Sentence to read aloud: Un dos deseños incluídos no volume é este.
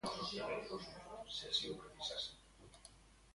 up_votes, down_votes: 0, 2